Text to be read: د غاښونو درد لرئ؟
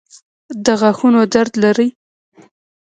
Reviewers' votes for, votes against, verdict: 1, 2, rejected